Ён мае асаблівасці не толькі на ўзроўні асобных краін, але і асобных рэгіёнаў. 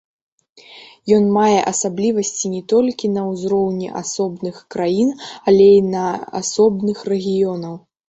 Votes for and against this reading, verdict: 1, 2, rejected